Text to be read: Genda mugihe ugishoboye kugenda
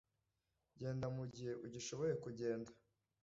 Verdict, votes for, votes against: accepted, 2, 0